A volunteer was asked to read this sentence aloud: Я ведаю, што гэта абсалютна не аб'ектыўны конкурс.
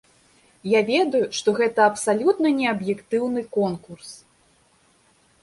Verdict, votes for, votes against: accepted, 2, 0